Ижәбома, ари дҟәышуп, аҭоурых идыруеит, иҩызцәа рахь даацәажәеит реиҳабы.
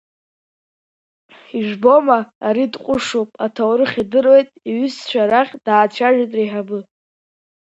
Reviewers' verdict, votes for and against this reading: accepted, 2, 1